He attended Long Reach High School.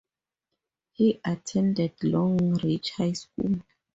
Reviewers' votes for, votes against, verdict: 4, 0, accepted